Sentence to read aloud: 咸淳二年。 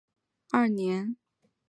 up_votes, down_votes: 2, 3